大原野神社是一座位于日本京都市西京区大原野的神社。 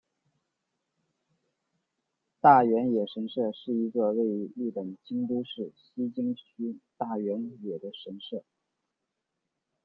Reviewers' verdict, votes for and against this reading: rejected, 1, 2